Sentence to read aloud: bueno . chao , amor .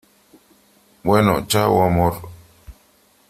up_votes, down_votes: 3, 0